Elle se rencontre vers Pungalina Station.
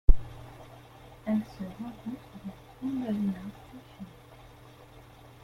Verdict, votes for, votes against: rejected, 0, 2